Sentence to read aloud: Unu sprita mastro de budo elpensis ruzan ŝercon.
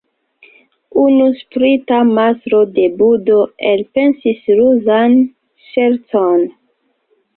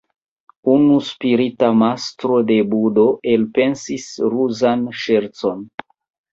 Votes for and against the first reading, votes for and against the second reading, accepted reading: 2, 1, 1, 2, first